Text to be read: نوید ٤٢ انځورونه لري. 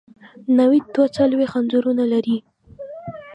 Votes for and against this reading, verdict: 0, 2, rejected